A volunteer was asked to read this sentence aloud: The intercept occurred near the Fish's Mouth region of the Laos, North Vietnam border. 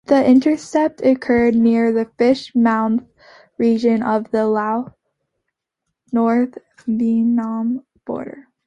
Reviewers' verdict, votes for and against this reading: accepted, 2, 0